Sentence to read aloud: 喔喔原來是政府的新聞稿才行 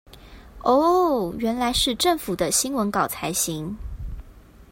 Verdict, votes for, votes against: accepted, 2, 0